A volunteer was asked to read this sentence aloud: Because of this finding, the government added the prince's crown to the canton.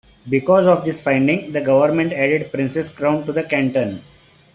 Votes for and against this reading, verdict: 0, 2, rejected